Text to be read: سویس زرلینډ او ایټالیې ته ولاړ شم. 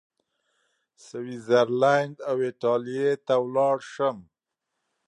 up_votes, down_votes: 2, 0